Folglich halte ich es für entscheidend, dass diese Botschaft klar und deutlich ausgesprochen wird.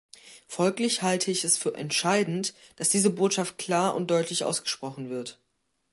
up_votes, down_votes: 3, 0